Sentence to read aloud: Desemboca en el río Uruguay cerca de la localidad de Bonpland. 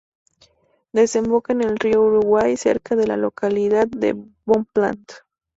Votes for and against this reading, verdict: 4, 0, accepted